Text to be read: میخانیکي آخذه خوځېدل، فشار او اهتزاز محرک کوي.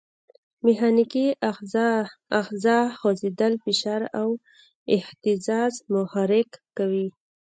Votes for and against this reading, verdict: 0, 2, rejected